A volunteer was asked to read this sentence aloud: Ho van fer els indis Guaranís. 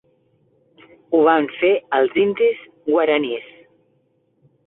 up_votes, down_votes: 3, 1